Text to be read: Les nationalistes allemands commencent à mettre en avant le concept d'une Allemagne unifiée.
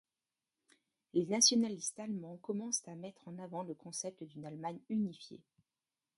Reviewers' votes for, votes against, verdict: 1, 2, rejected